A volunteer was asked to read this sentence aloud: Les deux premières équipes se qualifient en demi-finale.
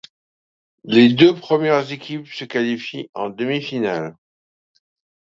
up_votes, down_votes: 2, 1